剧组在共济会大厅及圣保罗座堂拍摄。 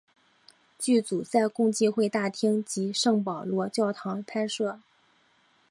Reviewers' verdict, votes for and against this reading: accepted, 3, 0